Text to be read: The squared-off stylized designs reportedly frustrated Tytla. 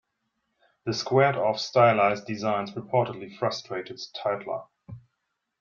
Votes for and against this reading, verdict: 2, 0, accepted